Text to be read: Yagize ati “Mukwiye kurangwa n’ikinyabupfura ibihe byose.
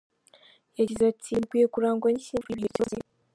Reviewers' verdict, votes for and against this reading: rejected, 1, 2